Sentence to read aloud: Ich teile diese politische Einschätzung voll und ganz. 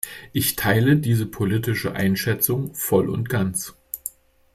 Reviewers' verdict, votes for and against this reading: accepted, 2, 0